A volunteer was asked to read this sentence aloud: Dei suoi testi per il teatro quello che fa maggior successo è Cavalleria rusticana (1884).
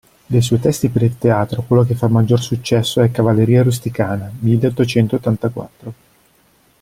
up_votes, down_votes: 0, 2